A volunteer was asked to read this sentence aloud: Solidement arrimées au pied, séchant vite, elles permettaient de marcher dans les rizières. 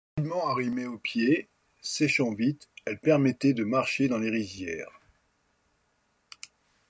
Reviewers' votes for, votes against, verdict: 2, 0, accepted